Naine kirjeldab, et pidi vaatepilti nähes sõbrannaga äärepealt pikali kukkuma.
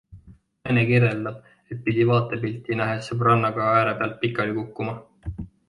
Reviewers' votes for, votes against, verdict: 2, 1, accepted